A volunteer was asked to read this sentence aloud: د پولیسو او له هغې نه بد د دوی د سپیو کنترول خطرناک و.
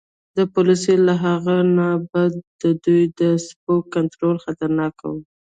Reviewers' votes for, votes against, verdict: 1, 2, rejected